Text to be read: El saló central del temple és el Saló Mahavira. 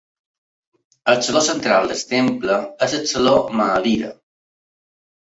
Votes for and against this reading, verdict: 1, 2, rejected